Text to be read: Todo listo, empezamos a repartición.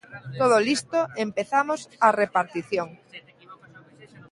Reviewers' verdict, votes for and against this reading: rejected, 1, 2